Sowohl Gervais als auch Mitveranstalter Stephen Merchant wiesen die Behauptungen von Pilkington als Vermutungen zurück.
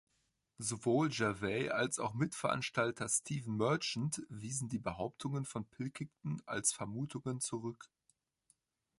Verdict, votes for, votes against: rejected, 0, 2